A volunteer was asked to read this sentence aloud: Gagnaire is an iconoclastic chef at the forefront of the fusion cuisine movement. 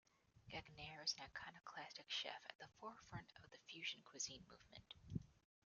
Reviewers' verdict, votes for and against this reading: accepted, 2, 1